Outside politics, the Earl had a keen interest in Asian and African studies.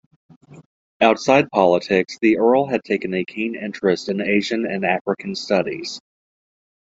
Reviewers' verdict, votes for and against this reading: rejected, 1, 2